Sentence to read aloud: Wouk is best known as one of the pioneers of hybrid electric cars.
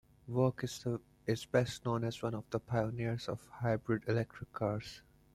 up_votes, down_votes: 1, 2